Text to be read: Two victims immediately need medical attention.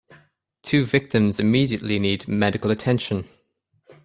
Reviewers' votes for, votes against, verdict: 2, 0, accepted